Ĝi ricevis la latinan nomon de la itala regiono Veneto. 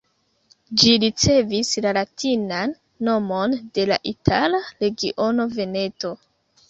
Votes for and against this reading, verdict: 2, 0, accepted